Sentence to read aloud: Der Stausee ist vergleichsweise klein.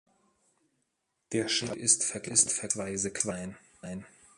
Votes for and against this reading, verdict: 0, 2, rejected